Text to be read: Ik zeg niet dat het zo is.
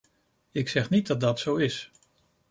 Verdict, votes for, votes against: rejected, 0, 2